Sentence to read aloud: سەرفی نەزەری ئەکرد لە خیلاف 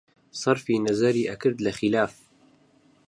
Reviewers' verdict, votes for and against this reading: rejected, 2, 2